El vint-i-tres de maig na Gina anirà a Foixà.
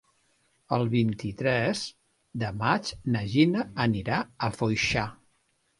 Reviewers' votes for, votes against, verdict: 2, 1, accepted